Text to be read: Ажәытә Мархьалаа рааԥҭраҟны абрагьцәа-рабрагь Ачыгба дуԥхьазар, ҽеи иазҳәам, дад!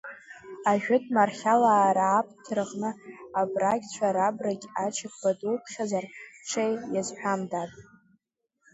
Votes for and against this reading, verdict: 2, 0, accepted